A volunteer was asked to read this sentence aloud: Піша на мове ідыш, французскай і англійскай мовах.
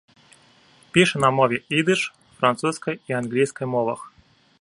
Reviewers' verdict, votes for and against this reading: accepted, 2, 0